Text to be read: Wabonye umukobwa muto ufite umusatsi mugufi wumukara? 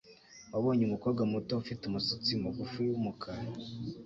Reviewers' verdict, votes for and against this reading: accepted, 2, 1